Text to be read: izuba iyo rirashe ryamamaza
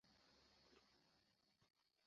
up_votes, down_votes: 0, 2